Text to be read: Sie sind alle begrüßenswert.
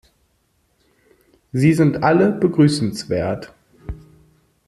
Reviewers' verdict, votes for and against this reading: accepted, 2, 0